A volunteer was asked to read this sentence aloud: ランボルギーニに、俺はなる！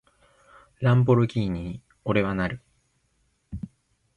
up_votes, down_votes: 3, 0